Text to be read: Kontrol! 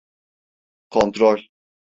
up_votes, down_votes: 2, 0